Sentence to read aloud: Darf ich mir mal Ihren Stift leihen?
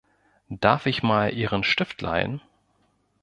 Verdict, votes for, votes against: rejected, 1, 2